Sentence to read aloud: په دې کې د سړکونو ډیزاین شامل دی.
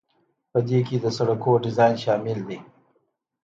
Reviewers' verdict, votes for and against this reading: accepted, 2, 0